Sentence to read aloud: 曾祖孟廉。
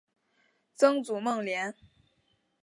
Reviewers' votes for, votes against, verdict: 4, 0, accepted